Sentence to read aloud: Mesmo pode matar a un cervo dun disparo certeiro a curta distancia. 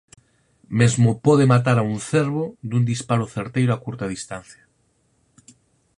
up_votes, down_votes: 4, 0